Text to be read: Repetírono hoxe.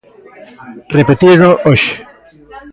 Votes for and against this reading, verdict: 0, 2, rejected